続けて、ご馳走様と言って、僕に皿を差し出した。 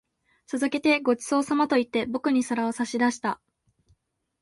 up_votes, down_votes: 2, 0